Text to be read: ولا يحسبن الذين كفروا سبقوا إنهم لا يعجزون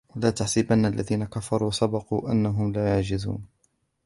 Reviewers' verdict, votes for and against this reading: rejected, 1, 2